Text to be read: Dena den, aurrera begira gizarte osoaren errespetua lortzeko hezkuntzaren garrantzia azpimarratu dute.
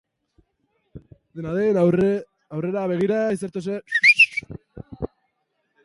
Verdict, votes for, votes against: rejected, 0, 4